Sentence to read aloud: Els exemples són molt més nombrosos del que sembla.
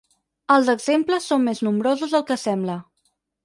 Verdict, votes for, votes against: rejected, 2, 4